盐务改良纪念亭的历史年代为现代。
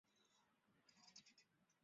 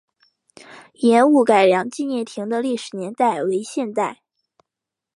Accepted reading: second